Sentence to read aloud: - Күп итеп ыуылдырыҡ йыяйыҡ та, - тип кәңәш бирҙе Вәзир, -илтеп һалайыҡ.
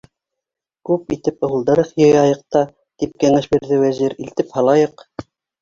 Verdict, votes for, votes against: accepted, 2, 1